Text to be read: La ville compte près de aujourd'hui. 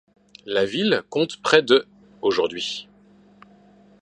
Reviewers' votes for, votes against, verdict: 2, 0, accepted